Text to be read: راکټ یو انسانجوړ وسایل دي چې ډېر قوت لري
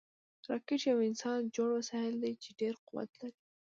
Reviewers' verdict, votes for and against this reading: rejected, 0, 2